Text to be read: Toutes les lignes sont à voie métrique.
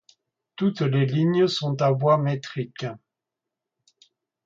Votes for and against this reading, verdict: 2, 0, accepted